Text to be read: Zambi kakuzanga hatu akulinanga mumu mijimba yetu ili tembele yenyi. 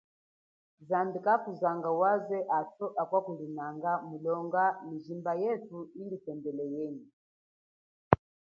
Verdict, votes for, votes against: accepted, 2, 0